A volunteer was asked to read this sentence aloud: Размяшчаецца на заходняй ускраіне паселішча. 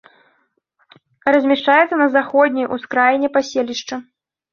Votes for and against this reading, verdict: 2, 0, accepted